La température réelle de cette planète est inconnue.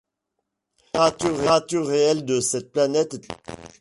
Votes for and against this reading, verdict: 0, 2, rejected